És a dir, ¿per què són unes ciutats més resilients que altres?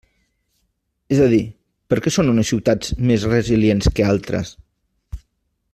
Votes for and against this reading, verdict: 3, 0, accepted